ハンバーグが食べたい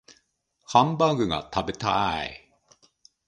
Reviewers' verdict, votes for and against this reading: rejected, 0, 2